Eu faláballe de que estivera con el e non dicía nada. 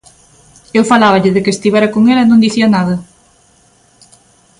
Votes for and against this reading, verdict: 2, 0, accepted